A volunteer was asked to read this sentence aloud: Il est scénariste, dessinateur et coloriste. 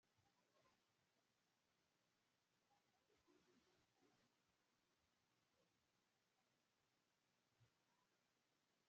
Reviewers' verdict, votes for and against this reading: rejected, 0, 2